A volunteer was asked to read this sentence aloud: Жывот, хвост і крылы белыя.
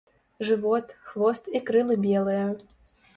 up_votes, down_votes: 2, 0